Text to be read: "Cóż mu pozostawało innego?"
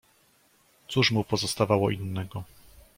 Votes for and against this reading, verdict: 2, 0, accepted